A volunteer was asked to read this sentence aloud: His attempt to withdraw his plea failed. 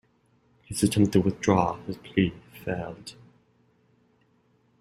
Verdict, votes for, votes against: accepted, 2, 1